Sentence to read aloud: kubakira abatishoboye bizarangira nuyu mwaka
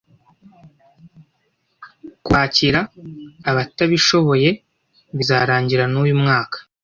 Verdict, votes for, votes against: rejected, 0, 2